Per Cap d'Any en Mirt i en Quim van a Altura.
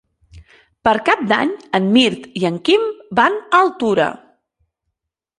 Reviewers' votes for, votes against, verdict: 4, 0, accepted